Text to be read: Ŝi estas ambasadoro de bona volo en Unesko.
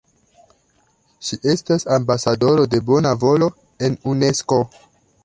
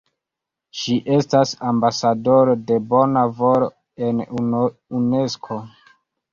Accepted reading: first